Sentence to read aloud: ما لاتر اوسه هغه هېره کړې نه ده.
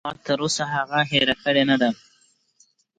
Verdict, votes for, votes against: accepted, 2, 0